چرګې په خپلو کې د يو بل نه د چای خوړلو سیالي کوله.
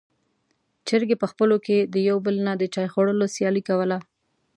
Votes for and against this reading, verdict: 2, 0, accepted